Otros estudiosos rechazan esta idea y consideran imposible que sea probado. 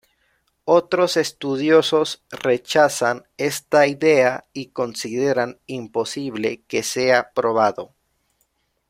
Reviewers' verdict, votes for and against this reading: accepted, 2, 0